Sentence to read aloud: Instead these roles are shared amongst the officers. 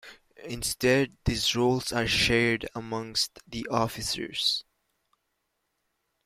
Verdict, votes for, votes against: rejected, 1, 2